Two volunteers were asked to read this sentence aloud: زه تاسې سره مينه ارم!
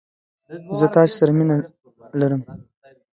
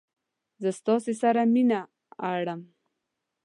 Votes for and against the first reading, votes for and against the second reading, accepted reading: 2, 1, 0, 2, first